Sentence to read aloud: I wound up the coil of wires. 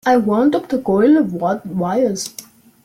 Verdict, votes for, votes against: rejected, 0, 2